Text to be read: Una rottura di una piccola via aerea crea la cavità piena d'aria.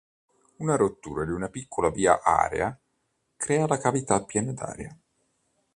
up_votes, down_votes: 1, 2